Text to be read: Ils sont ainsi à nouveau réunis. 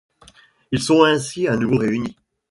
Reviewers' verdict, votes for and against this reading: accepted, 2, 0